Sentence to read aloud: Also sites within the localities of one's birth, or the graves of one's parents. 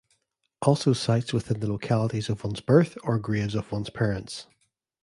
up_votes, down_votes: 1, 2